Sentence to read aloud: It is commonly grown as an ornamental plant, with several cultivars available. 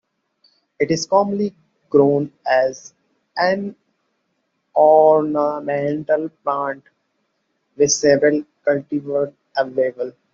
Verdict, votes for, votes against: rejected, 0, 2